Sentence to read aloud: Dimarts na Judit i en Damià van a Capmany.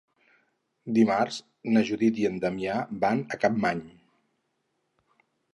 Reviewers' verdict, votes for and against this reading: accepted, 6, 0